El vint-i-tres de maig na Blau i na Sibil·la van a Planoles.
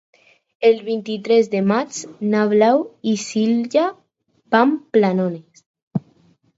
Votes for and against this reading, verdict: 2, 4, rejected